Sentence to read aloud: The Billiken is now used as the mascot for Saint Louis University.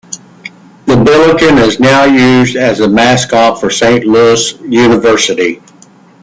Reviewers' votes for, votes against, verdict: 1, 2, rejected